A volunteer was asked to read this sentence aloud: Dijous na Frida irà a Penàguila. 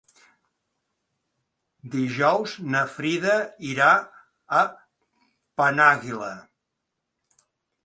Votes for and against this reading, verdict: 2, 0, accepted